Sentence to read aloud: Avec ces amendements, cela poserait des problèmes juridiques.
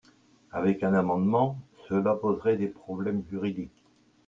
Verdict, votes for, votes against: rejected, 0, 2